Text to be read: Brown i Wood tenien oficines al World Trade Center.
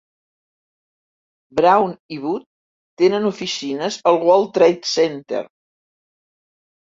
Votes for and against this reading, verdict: 0, 3, rejected